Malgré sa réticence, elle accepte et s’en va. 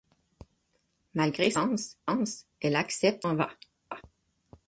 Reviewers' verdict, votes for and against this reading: rejected, 3, 6